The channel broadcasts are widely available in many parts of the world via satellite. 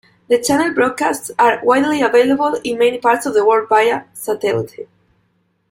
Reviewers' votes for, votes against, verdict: 2, 0, accepted